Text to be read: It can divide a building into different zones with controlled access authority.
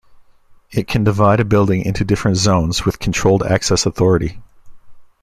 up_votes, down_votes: 2, 0